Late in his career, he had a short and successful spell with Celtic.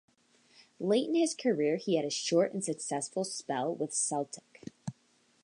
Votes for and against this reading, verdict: 2, 0, accepted